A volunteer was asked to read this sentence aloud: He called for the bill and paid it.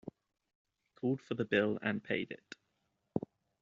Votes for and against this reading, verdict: 0, 2, rejected